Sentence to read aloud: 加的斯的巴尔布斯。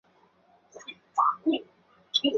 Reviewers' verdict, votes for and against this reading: rejected, 0, 2